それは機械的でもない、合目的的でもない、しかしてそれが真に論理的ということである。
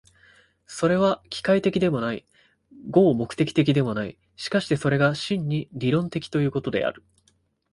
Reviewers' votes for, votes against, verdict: 0, 2, rejected